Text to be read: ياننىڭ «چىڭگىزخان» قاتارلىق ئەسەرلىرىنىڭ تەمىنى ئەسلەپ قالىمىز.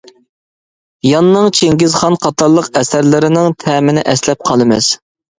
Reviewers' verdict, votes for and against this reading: accepted, 2, 0